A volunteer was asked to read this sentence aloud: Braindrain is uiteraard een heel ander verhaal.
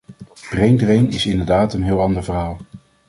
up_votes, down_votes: 1, 2